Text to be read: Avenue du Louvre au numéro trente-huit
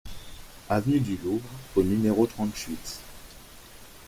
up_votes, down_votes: 2, 0